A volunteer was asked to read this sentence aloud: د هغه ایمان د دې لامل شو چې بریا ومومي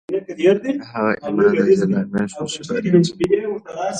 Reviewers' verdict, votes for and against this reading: rejected, 0, 2